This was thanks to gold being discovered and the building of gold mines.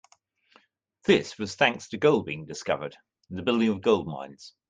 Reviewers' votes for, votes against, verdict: 2, 0, accepted